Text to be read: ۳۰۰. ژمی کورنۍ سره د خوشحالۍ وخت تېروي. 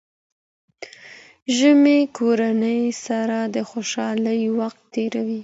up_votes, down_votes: 0, 2